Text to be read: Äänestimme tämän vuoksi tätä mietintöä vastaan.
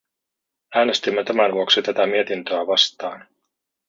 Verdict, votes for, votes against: rejected, 0, 2